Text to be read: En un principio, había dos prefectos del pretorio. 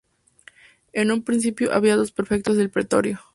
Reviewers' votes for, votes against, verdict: 2, 0, accepted